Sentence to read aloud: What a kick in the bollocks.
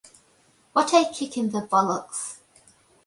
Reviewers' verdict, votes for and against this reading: accepted, 2, 0